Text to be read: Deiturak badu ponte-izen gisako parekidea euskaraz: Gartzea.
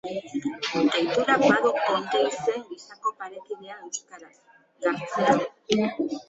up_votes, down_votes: 0, 2